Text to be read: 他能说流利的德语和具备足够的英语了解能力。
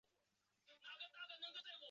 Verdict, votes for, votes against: rejected, 2, 5